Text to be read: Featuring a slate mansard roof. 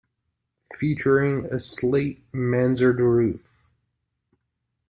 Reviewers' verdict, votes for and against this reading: accepted, 2, 0